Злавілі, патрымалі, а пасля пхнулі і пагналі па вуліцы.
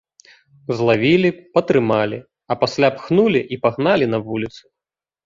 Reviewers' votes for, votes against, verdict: 0, 3, rejected